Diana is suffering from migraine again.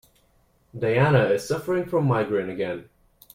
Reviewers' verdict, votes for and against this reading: accepted, 2, 0